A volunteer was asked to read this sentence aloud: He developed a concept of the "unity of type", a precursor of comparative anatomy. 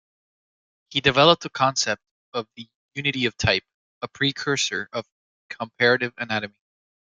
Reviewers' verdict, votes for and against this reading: accepted, 2, 1